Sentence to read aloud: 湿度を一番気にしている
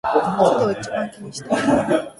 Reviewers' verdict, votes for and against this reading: rejected, 0, 2